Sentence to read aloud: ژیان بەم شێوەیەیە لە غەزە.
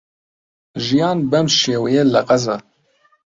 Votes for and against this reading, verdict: 2, 1, accepted